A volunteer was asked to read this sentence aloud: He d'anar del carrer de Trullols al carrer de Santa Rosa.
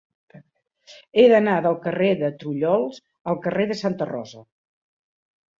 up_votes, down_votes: 2, 0